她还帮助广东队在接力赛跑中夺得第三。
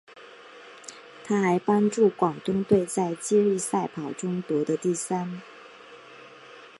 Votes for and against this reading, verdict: 1, 2, rejected